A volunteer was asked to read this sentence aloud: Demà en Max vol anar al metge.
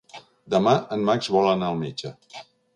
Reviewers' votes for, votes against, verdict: 3, 0, accepted